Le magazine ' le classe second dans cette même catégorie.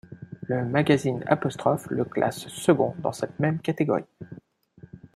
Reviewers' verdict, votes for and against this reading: rejected, 1, 2